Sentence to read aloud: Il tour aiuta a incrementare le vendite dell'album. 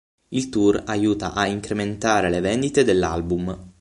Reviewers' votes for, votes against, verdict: 6, 0, accepted